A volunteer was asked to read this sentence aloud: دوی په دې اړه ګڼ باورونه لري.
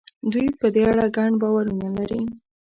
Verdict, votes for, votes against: accepted, 2, 0